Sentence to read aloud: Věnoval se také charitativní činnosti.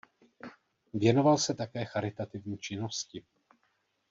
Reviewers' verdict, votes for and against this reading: accepted, 2, 0